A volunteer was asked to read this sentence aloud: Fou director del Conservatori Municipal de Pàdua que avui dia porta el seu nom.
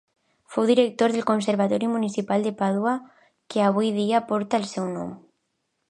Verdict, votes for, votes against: accepted, 2, 0